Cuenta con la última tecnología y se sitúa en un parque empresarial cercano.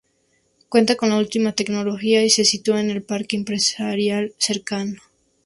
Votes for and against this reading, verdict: 2, 2, rejected